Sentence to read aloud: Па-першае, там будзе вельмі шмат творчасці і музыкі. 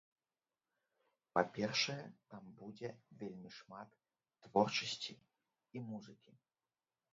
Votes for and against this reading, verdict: 0, 2, rejected